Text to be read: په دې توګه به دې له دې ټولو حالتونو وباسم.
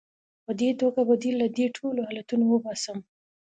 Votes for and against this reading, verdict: 2, 0, accepted